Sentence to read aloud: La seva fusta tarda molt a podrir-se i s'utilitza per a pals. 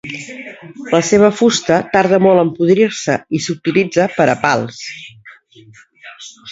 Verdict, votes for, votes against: rejected, 1, 2